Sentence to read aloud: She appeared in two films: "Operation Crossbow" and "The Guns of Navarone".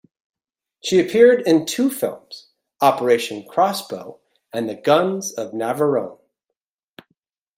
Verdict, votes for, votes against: accepted, 2, 0